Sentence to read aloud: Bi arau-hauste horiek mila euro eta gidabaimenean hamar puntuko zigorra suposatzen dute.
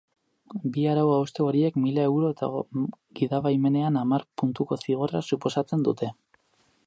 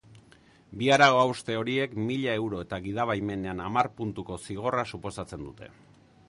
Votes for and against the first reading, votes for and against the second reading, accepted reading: 2, 4, 2, 0, second